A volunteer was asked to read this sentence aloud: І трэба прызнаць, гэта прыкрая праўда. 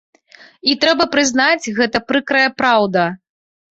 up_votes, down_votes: 0, 2